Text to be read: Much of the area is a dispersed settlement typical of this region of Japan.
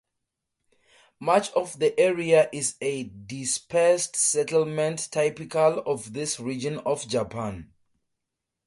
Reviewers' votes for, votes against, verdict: 4, 0, accepted